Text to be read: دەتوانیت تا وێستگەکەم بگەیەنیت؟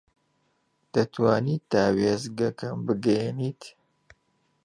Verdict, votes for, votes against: accepted, 2, 1